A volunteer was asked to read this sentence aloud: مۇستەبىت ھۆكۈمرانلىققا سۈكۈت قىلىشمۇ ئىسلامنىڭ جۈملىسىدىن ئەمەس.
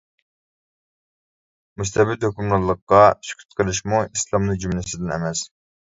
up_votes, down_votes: 0, 2